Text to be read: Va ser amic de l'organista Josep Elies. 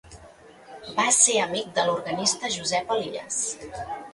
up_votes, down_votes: 2, 0